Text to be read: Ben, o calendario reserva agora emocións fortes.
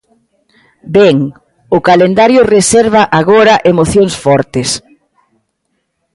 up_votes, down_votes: 2, 0